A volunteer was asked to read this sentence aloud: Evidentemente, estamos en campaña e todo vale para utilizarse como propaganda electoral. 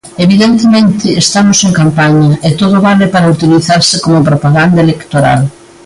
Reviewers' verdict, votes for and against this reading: accepted, 2, 0